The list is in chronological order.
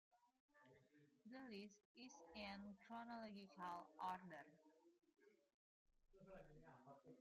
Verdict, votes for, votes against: rejected, 0, 2